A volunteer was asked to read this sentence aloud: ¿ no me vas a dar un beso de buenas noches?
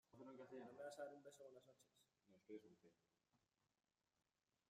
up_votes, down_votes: 0, 2